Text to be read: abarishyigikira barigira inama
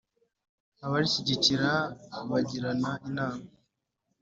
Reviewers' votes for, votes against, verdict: 1, 2, rejected